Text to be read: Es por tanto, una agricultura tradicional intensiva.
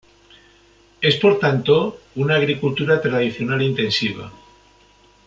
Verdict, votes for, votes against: accepted, 2, 0